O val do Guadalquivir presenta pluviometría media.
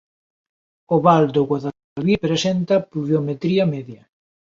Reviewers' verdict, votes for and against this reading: rejected, 0, 2